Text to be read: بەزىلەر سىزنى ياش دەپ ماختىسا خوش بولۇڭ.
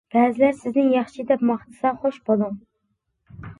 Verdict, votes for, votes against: rejected, 0, 2